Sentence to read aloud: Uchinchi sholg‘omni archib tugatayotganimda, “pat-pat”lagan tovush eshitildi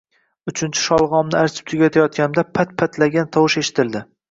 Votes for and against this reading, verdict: 2, 0, accepted